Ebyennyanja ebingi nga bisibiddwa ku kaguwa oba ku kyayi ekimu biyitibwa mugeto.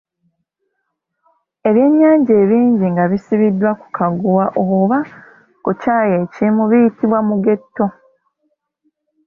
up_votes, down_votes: 0, 2